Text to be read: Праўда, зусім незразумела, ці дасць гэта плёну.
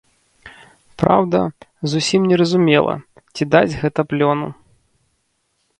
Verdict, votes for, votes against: rejected, 0, 2